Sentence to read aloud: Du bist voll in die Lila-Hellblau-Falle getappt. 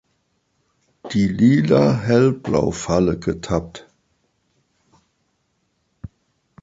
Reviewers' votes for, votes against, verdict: 0, 2, rejected